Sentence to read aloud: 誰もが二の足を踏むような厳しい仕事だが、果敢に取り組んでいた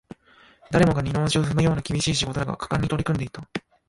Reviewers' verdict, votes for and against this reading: rejected, 0, 2